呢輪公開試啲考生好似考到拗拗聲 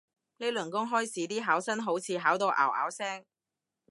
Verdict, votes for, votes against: accepted, 3, 0